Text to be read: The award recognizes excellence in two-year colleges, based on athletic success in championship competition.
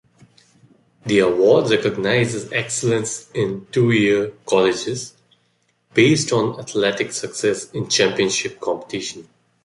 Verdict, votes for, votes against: accepted, 2, 0